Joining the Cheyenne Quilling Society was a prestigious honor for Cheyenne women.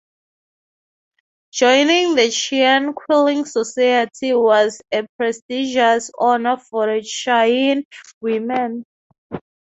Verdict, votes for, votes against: accepted, 3, 0